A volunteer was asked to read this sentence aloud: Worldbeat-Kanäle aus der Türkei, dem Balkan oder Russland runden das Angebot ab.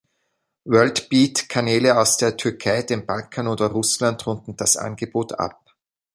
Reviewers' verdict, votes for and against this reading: accepted, 2, 1